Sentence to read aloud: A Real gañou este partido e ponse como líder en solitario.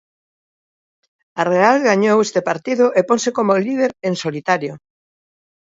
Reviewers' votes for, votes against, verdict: 2, 0, accepted